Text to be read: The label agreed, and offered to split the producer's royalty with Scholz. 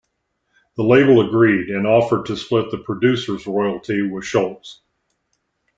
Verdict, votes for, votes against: accepted, 2, 0